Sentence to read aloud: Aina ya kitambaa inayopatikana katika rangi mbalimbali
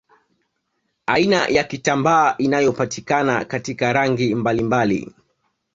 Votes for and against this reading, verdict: 2, 0, accepted